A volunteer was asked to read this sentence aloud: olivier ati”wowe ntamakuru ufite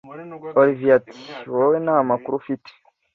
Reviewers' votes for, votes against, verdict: 2, 0, accepted